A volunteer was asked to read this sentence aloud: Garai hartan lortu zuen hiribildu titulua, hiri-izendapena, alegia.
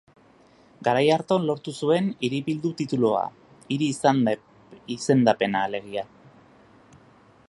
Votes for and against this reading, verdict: 0, 2, rejected